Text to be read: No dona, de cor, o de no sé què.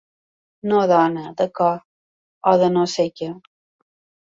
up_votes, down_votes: 3, 0